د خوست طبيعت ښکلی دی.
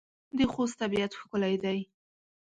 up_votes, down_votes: 2, 0